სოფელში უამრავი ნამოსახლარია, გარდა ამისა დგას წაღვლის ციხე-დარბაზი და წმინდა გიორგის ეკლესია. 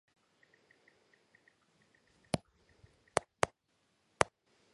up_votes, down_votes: 0, 2